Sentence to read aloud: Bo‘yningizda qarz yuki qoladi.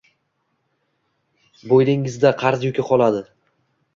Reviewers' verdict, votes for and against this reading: accepted, 2, 0